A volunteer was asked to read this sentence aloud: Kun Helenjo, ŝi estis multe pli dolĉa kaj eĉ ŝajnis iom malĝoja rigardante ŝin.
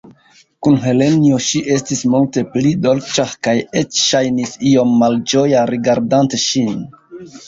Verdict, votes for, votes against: accepted, 2, 1